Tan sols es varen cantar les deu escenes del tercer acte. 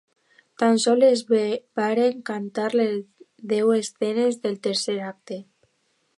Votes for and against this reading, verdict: 1, 2, rejected